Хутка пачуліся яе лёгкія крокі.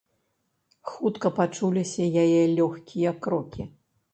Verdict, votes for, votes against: accepted, 2, 0